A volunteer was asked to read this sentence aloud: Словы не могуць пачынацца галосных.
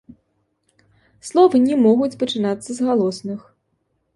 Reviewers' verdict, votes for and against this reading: accepted, 2, 0